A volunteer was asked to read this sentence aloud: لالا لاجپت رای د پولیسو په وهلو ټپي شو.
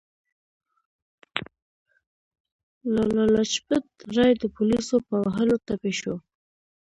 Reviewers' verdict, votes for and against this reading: rejected, 2, 3